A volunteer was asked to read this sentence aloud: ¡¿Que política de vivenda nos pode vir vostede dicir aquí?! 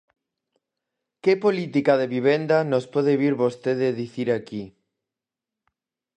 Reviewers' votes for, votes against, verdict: 4, 0, accepted